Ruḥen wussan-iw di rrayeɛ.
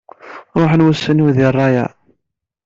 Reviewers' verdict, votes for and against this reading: accepted, 2, 0